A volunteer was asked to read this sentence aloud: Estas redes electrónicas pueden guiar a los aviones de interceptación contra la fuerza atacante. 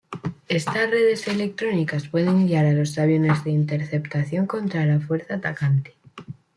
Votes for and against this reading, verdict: 2, 0, accepted